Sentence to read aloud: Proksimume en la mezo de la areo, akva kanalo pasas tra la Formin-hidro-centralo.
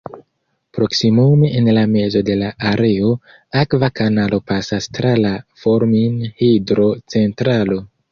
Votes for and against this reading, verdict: 1, 2, rejected